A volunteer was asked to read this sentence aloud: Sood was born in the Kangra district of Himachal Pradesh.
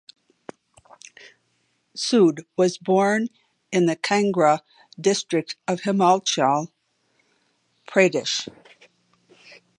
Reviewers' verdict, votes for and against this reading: rejected, 0, 2